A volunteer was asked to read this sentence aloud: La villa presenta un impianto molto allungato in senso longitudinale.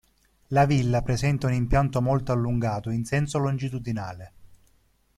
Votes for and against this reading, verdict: 2, 0, accepted